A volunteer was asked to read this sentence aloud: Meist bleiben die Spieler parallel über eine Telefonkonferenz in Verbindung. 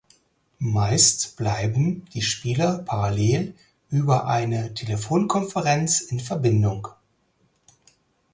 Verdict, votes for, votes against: accepted, 4, 0